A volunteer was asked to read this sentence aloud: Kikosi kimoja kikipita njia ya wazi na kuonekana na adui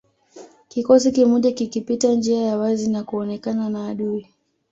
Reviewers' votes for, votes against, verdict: 1, 2, rejected